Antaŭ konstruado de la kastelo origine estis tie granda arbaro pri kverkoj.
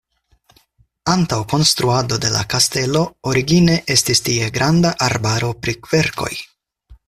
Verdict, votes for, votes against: accepted, 4, 0